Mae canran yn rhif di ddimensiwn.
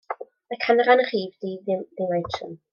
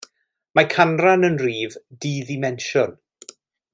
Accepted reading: second